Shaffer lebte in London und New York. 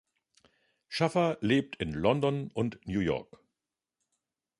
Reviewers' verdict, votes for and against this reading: rejected, 1, 2